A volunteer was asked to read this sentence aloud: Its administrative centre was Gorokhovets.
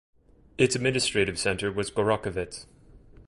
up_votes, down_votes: 2, 0